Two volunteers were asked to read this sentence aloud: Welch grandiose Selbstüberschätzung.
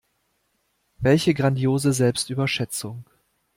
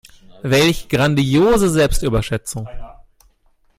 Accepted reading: second